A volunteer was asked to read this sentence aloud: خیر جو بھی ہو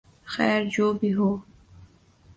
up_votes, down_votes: 2, 0